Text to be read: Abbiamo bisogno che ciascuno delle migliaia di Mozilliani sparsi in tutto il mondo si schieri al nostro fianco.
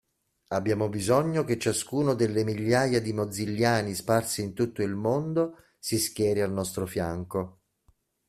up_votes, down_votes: 2, 0